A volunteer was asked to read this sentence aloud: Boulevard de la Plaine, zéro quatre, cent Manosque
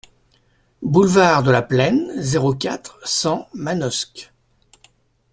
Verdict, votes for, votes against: accepted, 2, 0